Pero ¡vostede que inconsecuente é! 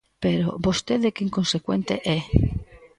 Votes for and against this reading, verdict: 1, 2, rejected